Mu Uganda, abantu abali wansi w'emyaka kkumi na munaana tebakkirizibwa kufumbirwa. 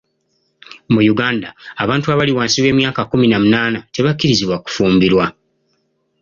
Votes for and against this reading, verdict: 2, 0, accepted